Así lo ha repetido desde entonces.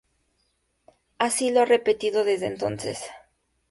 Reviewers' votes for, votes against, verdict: 2, 0, accepted